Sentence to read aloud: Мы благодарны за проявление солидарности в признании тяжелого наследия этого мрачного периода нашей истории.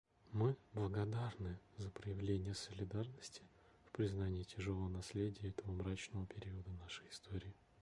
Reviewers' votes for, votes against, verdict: 1, 2, rejected